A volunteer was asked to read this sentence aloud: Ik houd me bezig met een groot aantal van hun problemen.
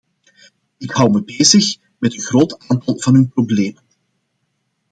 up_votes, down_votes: 2, 0